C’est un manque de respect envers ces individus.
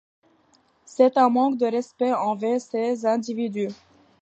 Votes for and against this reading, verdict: 2, 1, accepted